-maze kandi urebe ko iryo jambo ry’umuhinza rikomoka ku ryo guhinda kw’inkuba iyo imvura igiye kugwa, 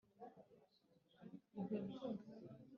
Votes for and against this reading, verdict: 1, 3, rejected